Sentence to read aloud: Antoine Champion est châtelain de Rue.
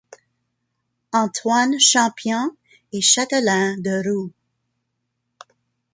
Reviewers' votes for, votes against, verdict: 0, 2, rejected